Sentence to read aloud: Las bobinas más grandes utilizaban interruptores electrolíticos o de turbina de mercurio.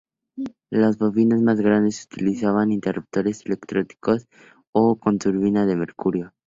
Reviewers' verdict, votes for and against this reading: accepted, 2, 0